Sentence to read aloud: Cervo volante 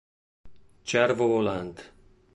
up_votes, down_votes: 2, 0